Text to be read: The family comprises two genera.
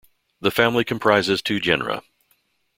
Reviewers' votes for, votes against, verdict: 2, 0, accepted